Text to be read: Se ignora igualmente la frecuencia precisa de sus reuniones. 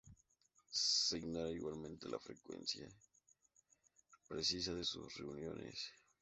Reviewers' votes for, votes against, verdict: 2, 0, accepted